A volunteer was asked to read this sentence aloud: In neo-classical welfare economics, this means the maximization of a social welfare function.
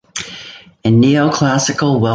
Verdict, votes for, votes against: rejected, 0, 2